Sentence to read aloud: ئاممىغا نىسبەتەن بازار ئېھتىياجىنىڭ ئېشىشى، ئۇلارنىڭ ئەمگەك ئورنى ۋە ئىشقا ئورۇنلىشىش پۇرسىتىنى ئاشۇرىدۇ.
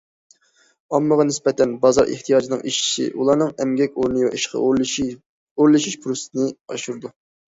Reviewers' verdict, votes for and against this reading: rejected, 0, 2